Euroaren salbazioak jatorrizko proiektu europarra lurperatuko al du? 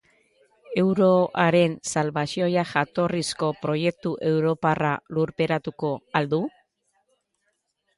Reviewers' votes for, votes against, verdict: 0, 2, rejected